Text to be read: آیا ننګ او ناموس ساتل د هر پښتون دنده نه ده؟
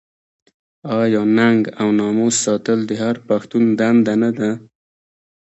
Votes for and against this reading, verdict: 2, 0, accepted